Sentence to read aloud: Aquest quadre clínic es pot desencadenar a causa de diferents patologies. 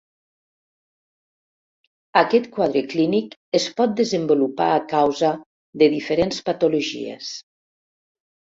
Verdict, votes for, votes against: rejected, 2, 3